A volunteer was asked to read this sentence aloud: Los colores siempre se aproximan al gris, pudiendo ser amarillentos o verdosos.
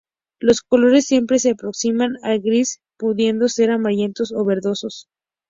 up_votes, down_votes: 2, 0